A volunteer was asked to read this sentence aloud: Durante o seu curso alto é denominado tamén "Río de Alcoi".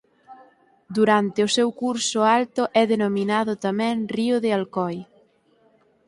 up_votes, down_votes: 4, 0